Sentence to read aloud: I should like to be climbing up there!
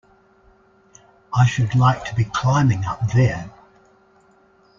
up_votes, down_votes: 2, 0